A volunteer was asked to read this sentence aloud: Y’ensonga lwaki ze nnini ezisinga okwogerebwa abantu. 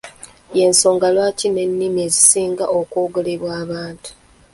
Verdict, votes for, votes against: accepted, 2, 0